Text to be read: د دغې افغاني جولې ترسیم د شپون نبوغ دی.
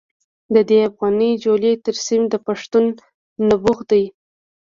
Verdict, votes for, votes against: rejected, 1, 2